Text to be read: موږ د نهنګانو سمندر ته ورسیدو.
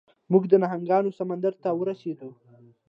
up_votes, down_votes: 2, 0